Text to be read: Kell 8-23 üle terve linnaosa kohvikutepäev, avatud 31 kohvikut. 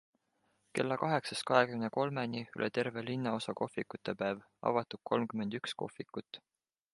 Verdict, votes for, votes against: rejected, 0, 2